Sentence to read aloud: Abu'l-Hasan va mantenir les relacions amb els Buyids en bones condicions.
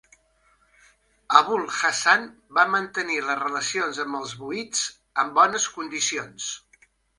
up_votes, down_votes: 2, 0